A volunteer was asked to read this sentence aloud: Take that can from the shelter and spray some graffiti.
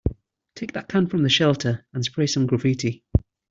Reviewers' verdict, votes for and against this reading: accepted, 2, 0